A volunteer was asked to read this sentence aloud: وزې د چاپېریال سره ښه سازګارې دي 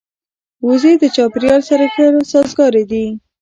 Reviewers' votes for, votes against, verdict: 0, 2, rejected